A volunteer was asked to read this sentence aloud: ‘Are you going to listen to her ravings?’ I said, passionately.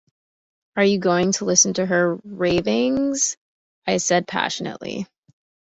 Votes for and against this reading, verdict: 2, 0, accepted